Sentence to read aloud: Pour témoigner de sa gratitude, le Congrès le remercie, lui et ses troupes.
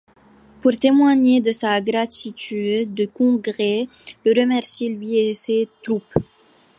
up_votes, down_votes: 1, 2